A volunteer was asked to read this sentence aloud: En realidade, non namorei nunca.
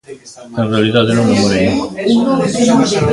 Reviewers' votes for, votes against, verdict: 0, 2, rejected